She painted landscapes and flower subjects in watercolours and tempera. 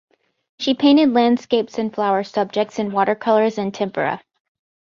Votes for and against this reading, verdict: 2, 0, accepted